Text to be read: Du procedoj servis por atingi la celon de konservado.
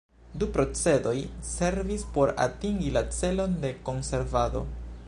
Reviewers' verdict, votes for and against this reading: accepted, 2, 0